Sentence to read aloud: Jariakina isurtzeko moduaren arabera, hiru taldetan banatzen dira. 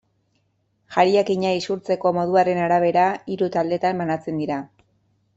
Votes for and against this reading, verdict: 2, 0, accepted